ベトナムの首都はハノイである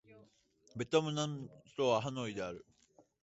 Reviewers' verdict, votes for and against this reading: rejected, 2, 3